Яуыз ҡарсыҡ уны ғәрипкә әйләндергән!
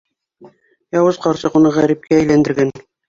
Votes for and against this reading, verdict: 2, 0, accepted